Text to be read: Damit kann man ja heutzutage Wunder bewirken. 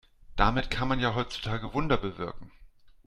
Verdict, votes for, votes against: accepted, 2, 0